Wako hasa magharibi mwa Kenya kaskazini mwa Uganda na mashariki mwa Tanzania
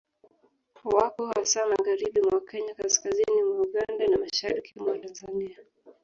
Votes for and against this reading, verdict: 1, 2, rejected